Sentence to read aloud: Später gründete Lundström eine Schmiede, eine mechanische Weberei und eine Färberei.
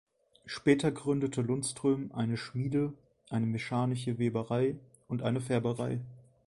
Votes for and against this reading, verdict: 0, 2, rejected